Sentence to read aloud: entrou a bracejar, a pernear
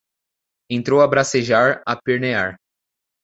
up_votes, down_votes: 2, 0